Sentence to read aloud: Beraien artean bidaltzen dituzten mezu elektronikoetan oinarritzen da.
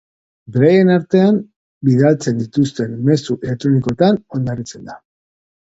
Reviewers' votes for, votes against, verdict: 0, 2, rejected